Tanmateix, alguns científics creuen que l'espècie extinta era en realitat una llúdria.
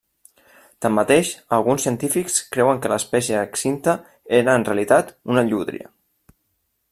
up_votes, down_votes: 0, 2